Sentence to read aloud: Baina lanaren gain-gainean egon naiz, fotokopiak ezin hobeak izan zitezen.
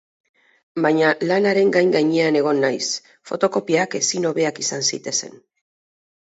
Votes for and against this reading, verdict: 2, 2, rejected